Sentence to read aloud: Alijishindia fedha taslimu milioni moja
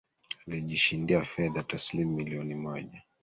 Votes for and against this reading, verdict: 2, 1, accepted